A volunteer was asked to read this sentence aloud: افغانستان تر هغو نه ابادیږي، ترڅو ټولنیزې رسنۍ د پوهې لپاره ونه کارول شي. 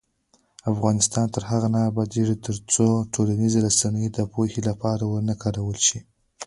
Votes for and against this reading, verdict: 0, 2, rejected